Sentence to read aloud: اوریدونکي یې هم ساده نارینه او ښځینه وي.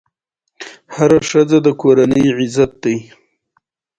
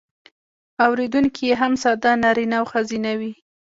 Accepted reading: first